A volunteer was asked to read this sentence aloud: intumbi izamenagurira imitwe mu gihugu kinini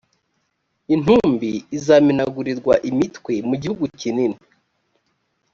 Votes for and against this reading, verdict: 1, 2, rejected